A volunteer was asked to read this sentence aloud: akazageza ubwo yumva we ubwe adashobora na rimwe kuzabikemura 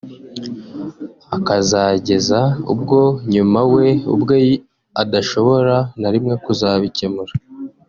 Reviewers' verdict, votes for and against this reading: rejected, 0, 2